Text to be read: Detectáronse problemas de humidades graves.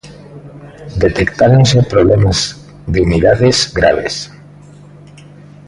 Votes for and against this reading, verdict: 2, 0, accepted